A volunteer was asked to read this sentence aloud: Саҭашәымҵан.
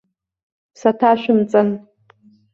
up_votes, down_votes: 2, 0